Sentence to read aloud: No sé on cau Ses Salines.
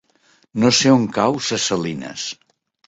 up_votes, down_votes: 3, 0